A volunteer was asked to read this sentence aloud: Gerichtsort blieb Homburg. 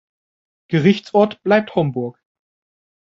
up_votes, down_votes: 1, 2